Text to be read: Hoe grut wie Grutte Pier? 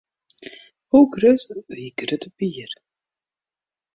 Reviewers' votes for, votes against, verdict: 0, 2, rejected